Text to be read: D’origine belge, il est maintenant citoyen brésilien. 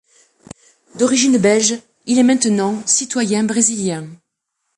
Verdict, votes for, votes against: accepted, 2, 0